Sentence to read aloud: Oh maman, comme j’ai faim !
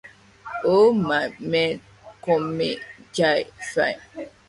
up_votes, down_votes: 0, 2